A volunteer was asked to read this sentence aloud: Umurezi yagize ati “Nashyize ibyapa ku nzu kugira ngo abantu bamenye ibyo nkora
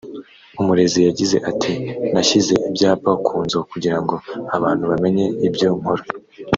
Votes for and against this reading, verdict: 3, 0, accepted